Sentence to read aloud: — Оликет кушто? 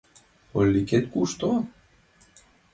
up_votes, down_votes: 2, 0